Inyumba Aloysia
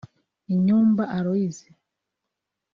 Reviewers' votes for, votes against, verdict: 2, 1, accepted